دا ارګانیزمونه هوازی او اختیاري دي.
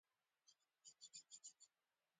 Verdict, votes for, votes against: rejected, 0, 2